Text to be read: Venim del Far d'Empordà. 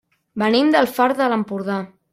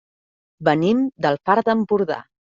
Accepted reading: second